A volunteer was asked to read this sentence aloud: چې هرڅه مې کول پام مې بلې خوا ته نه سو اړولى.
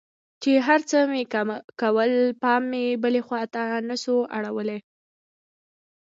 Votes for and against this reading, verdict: 0, 2, rejected